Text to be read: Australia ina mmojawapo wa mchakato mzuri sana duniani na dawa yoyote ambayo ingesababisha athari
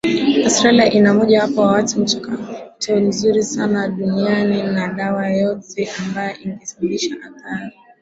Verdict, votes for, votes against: accepted, 2, 0